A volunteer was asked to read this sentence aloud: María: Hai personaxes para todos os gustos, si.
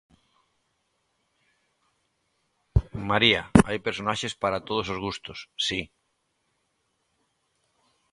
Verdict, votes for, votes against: accepted, 2, 1